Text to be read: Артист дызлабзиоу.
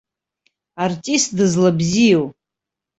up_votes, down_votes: 2, 0